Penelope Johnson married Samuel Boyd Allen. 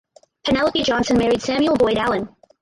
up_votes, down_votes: 2, 4